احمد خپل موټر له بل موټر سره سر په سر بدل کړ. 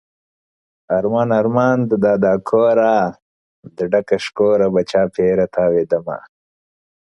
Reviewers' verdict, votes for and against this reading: rejected, 0, 2